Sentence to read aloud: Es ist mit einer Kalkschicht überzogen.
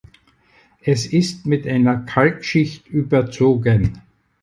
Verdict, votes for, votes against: accepted, 4, 0